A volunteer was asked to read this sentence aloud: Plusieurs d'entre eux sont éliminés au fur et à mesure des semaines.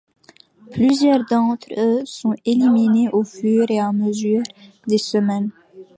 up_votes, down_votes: 2, 0